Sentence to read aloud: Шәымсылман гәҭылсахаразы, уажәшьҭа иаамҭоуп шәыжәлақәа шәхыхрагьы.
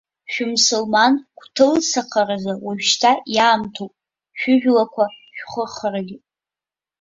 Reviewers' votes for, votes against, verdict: 0, 2, rejected